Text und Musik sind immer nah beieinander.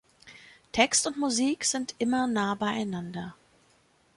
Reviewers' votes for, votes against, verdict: 2, 0, accepted